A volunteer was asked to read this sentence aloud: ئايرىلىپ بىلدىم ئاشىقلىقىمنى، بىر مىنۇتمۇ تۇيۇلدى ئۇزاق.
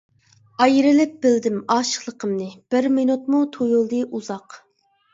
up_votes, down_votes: 2, 0